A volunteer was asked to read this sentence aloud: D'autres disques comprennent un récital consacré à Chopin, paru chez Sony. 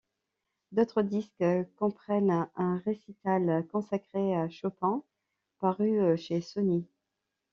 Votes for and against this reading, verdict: 1, 2, rejected